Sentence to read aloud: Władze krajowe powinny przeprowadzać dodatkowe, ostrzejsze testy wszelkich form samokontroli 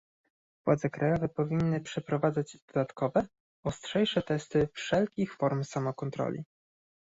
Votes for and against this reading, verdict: 2, 0, accepted